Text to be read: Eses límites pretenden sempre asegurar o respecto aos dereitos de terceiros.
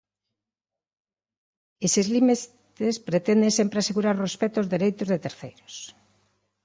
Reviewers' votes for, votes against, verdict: 0, 2, rejected